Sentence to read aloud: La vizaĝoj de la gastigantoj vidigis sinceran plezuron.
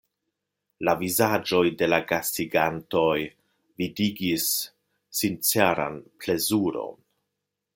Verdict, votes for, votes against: rejected, 1, 2